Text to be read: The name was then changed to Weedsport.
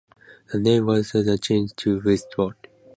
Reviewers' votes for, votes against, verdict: 0, 2, rejected